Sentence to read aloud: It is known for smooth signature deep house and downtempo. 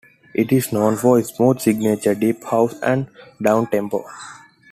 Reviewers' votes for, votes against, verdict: 2, 0, accepted